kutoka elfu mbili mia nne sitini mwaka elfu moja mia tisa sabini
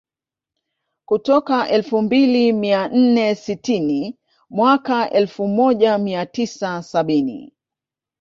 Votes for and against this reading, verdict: 3, 2, accepted